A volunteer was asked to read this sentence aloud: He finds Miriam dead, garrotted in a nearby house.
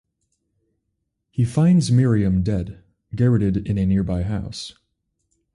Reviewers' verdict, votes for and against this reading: accepted, 4, 0